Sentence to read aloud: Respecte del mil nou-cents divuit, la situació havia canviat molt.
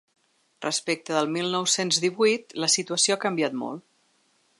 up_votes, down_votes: 0, 2